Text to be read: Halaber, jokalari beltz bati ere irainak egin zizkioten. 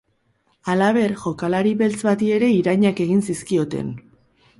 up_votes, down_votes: 2, 2